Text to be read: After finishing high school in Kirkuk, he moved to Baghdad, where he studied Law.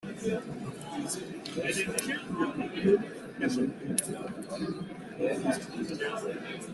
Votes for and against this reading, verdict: 0, 2, rejected